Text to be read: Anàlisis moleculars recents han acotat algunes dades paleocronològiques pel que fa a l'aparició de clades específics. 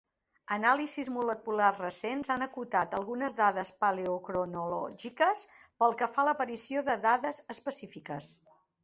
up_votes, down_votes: 0, 2